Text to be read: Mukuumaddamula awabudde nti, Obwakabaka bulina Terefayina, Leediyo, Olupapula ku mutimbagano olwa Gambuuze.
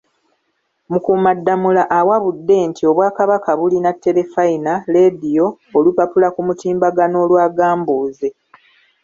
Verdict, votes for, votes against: rejected, 0, 2